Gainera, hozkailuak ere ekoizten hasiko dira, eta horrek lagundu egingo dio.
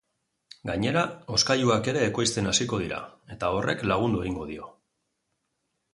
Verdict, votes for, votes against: accepted, 4, 0